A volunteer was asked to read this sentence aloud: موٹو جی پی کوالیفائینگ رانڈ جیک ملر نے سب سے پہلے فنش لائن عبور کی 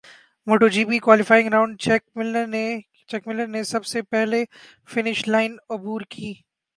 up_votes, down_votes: 0, 4